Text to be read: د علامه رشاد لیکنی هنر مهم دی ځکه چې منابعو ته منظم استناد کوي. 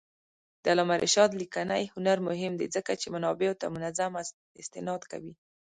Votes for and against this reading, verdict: 0, 2, rejected